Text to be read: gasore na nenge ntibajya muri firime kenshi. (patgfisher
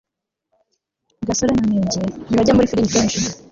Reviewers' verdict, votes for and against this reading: rejected, 0, 2